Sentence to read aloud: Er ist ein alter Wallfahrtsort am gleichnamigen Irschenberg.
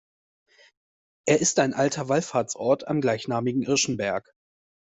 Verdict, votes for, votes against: accepted, 2, 0